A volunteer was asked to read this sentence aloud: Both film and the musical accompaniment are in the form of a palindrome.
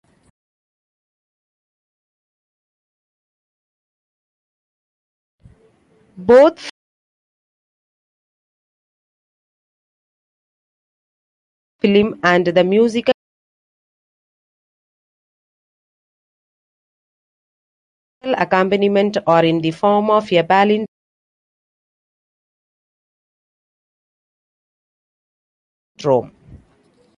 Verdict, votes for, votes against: rejected, 1, 3